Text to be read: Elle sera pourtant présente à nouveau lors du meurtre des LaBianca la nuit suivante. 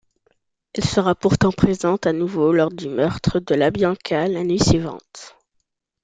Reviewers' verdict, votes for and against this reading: rejected, 0, 2